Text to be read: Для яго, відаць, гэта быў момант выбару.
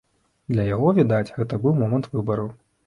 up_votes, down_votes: 2, 0